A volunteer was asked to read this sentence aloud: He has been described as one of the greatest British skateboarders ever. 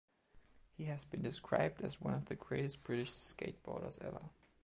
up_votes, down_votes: 2, 0